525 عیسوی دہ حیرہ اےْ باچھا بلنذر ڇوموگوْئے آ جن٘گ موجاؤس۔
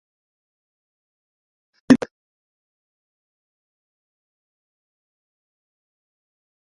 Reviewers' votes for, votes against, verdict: 0, 2, rejected